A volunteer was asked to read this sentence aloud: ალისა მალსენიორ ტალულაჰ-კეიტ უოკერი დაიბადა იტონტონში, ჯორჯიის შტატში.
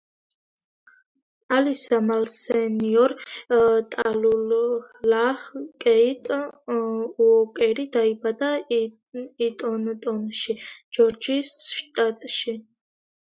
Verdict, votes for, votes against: rejected, 1, 2